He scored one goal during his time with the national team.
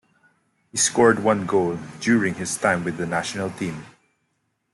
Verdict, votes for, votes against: accepted, 2, 1